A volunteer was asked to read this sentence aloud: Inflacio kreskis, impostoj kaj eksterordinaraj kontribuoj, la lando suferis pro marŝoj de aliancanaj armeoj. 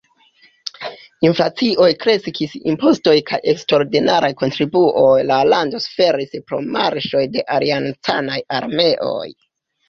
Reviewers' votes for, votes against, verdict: 0, 2, rejected